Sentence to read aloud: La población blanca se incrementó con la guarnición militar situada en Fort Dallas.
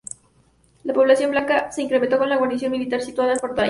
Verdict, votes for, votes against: rejected, 0, 2